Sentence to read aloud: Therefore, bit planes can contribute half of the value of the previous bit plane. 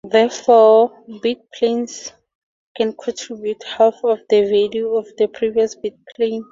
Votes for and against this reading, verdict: 2, 0, accepted